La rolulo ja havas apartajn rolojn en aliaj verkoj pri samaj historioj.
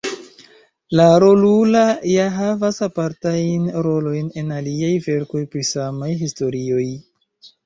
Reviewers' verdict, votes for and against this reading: rejected, 0, 2